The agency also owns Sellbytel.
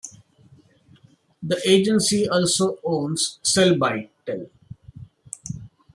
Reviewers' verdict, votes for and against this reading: rejected, 1, 2